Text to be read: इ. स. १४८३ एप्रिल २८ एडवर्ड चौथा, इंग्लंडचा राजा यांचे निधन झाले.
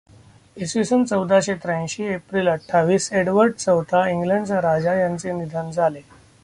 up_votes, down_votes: 0, 2